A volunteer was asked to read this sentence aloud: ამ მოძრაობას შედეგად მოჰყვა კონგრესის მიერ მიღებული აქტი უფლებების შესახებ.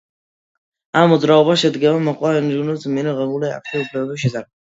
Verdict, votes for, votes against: rejected, 0, 2